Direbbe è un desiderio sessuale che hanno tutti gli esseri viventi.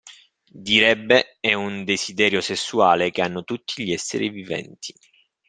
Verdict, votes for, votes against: accepted, 2, 0